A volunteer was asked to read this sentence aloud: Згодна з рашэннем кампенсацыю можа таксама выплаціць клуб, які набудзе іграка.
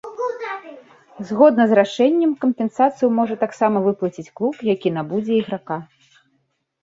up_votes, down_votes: 0, 2